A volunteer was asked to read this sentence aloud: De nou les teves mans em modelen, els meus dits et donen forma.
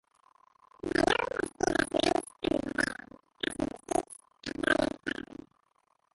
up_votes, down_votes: 0, 2